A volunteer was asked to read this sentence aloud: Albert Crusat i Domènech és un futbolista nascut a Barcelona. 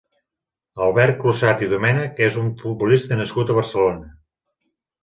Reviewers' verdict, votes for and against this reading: accepted, 2, 0